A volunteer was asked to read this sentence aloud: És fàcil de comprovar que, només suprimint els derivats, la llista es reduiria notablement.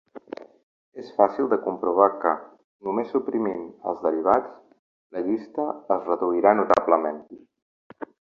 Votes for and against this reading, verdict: 0, 3, rejected